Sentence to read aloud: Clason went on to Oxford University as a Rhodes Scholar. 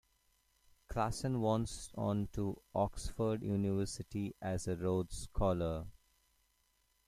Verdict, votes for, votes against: rejected, 0, 2